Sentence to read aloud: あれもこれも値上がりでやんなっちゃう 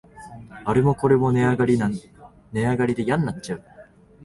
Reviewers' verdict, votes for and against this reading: rejected, 1, 2